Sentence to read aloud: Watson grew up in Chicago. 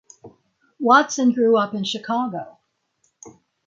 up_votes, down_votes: 6, 0